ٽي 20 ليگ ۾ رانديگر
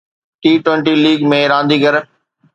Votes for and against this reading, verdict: 0, 2, rejected